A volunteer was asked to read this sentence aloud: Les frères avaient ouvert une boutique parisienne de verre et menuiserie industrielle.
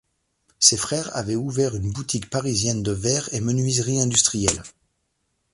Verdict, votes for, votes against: rejected, 0, 2